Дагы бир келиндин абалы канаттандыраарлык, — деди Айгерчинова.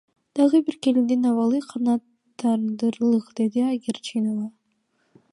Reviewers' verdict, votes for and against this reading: rejected, 1, 2